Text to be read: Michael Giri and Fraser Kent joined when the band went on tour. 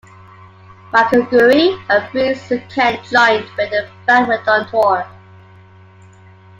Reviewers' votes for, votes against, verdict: 0, 2, rejected